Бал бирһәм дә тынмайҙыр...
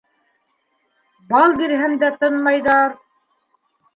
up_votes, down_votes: 2, 1